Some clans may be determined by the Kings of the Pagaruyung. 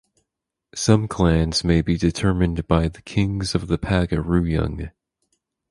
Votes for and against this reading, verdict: 0, 2, rejected